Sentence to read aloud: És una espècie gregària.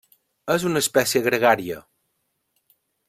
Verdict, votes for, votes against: accepted, 3, 0